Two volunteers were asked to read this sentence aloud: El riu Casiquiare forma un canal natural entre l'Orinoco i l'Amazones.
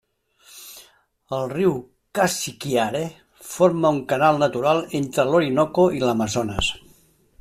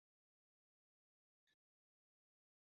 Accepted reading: first